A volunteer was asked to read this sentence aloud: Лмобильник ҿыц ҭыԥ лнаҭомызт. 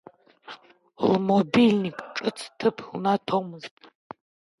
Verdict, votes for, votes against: rejected, 0, 2